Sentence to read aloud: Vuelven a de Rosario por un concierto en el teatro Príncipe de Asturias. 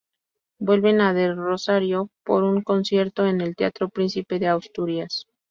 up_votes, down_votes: 2, 4